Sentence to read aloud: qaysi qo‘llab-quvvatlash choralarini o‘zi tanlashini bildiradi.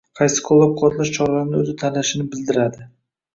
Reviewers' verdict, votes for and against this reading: rejected, 1, 2